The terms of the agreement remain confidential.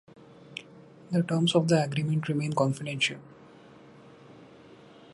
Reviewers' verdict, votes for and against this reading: accepted, 2, 0